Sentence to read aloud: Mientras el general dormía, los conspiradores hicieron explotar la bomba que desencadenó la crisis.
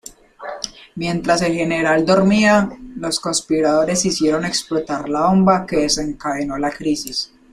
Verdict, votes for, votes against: accepted, 2, 0